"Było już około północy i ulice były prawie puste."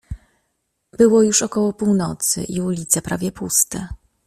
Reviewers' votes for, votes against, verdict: 0, 2, rejected